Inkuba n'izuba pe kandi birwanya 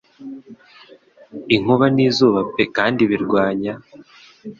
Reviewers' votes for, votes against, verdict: 2, 0, accepted